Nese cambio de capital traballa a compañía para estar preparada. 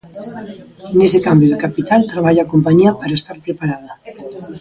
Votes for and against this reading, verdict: 1, 2, rejected